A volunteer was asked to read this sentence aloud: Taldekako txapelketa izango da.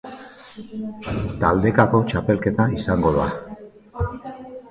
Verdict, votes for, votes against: accepted, 2, 0